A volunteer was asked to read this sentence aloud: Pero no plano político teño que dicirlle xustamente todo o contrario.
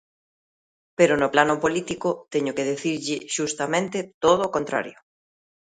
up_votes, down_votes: 1, 3